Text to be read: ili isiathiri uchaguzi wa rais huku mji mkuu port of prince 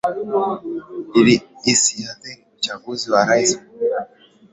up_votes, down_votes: 0, 2